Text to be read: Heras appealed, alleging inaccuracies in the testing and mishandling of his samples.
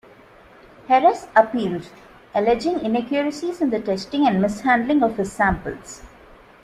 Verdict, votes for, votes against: accepted, 2, 0